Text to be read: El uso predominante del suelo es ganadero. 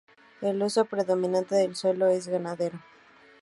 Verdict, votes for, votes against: accepted, 2, 0